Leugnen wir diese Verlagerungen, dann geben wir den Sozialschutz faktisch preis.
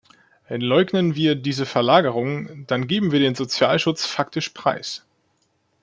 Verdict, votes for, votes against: rejected, 0, 2